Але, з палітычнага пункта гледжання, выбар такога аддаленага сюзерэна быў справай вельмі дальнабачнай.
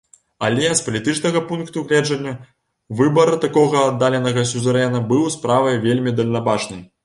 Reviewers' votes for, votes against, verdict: 2, 0, accepted